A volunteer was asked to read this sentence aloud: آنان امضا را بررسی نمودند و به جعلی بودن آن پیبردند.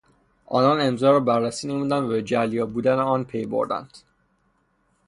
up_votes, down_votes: 0, 3